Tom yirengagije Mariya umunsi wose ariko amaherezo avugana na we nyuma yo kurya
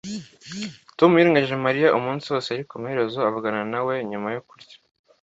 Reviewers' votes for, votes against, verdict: 2, 0, accepted